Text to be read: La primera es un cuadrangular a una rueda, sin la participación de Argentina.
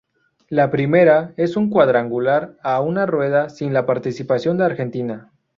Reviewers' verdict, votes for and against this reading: rejected, 0, 2